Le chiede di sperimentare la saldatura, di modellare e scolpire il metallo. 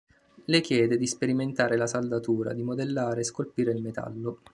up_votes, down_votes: 2, 0